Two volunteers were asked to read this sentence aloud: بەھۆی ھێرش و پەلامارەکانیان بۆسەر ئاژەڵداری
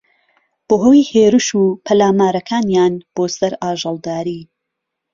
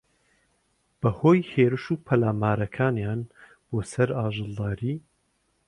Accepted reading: second